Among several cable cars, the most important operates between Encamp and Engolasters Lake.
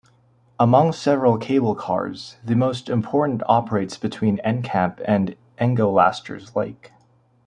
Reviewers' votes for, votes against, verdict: 2, 0, accepted